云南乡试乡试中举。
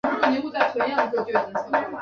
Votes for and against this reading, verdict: 0, 2, rejected